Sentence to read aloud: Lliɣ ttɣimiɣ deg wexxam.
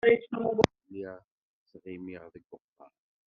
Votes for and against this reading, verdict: 0, 2, rejected